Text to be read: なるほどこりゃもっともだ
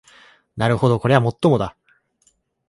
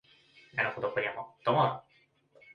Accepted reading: first